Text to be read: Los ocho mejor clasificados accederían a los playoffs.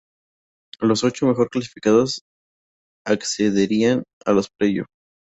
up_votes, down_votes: 2, 0